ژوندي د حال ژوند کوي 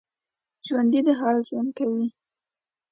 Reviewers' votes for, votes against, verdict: 2, 0, accepted